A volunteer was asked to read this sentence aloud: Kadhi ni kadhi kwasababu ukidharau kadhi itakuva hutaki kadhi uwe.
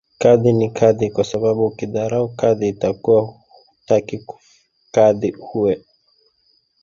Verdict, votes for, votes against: accepted, 2, 0